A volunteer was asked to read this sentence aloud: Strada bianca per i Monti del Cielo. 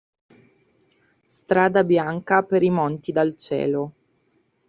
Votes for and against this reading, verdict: 0, 2, rejected